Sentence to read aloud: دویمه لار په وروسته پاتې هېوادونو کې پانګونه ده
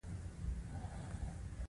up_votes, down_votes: 2, 0